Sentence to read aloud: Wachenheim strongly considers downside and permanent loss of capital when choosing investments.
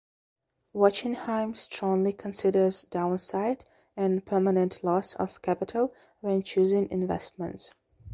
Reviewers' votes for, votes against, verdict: 3, 0, accepted